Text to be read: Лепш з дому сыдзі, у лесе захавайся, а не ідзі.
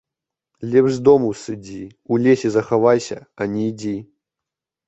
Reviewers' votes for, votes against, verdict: 2, 1, accepted